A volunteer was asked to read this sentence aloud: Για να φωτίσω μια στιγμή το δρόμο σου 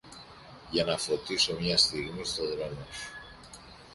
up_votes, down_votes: 1, 2